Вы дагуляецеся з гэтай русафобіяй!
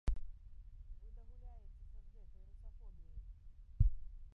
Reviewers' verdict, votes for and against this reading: rejected, 0, 2